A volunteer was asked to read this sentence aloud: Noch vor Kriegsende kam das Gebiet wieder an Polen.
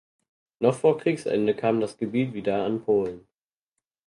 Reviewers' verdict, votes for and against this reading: accepted, 4, 0